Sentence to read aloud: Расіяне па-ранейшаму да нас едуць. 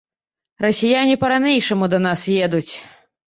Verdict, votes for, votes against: rejected, 1, 2